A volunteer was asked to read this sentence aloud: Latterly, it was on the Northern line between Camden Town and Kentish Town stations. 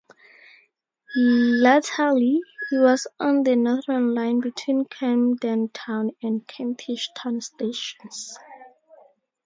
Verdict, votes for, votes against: rejected, 0, 2